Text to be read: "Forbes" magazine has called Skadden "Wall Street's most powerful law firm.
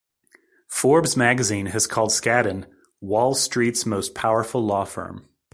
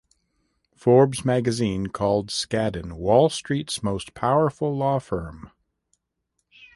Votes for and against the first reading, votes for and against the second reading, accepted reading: 2, 0, 0, 2, first